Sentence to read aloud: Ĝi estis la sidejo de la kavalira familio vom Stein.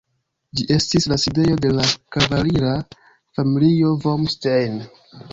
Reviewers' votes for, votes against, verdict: 2, 0, accepted